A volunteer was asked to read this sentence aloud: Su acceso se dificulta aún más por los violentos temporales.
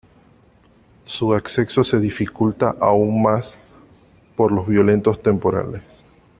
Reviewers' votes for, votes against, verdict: 2, 0, accepted